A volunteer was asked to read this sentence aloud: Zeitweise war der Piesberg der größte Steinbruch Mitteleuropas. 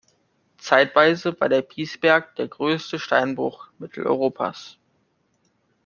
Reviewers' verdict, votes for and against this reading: accepted, 2, 0